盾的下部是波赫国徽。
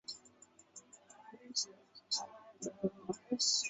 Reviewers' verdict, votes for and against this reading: rejected, 0, 2